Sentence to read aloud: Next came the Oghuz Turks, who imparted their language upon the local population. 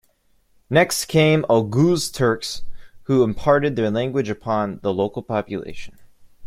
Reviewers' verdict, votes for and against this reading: rejected, 0, 2